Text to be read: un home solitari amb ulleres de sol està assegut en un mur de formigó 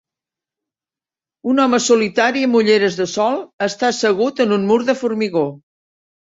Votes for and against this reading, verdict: 3, 0, accepted